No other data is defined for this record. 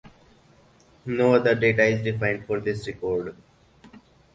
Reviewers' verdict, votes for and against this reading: accepted, 4, 0